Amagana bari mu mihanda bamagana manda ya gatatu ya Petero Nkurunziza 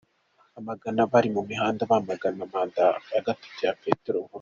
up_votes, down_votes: 1, 3